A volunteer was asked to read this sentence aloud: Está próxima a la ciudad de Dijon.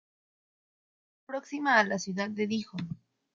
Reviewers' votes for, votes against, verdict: 0, 2, rejected